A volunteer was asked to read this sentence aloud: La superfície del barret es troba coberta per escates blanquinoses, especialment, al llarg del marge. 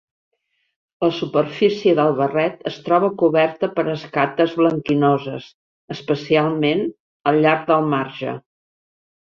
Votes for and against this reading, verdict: 1, 2, rejected